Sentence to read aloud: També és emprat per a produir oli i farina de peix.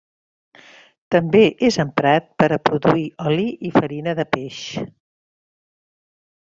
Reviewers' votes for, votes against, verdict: 3, 0, accepted